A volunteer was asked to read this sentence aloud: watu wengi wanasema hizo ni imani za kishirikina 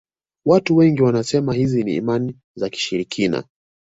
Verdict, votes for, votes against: accepted, 2, 0